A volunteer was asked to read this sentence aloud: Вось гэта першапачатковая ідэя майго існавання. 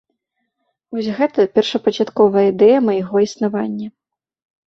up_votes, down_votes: 1, 2